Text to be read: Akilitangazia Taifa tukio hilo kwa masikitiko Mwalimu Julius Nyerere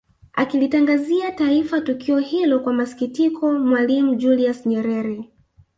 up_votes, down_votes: 1, 2